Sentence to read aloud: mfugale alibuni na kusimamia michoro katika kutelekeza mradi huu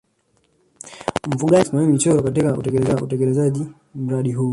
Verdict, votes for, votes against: rejected, 0, 2